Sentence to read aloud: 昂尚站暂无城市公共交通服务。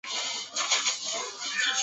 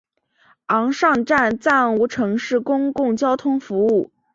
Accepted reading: second